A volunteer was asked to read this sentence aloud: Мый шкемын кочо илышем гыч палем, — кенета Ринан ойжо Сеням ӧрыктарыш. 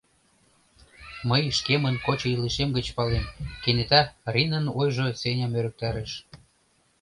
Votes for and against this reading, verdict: 1, 2, rejected